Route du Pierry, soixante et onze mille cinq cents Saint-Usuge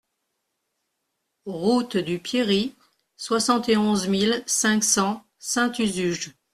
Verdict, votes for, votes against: accepted, 2, 0